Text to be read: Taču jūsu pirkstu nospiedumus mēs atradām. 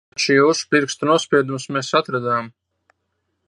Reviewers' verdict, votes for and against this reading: rejected, 0, 2